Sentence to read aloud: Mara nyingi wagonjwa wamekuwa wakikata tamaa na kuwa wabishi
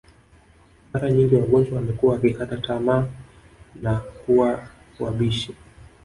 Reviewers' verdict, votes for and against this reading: rejected, 1, 2